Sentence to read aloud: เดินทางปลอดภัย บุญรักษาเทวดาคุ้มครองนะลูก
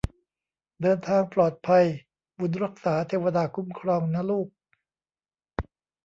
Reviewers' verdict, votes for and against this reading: rejected, 0, 2